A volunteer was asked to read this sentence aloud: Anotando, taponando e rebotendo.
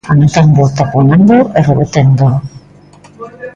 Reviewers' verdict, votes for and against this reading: rejected, 0, 2